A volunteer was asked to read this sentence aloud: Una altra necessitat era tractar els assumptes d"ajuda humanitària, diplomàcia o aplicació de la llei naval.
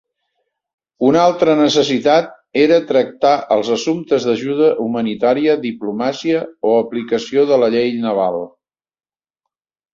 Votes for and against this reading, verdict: 2, 0, accepted